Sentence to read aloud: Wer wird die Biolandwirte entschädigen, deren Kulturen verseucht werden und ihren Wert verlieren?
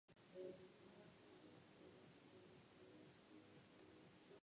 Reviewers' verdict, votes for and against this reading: rejected, 0, 2